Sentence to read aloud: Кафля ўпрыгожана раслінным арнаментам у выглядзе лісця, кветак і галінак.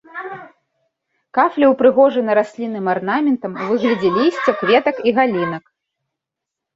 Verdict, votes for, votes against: rejected, 2, 3